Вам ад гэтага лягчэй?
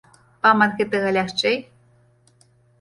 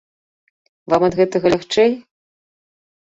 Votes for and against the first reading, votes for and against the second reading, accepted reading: 1, 2, 2, 0, second